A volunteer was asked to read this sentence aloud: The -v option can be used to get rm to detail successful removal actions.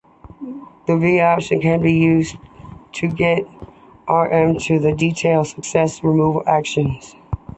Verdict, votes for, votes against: accepted, 2, 1